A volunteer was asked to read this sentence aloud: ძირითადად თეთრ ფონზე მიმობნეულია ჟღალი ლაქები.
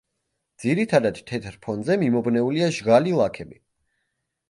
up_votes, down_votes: 2, 0